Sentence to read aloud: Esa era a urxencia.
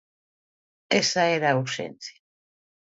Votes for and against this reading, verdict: 2, 0, accepted